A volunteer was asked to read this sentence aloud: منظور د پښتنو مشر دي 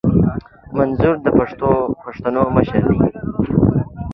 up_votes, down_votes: 2, 0